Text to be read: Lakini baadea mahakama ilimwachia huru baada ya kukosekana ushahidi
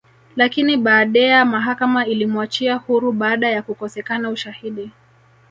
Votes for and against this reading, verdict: 2, 1, accepted